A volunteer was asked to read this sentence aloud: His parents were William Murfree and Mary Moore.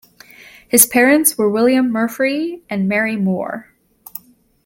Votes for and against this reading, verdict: 2, 0, accepted